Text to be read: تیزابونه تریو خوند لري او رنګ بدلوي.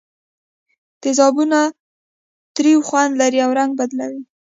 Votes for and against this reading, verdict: 2, 0, accepted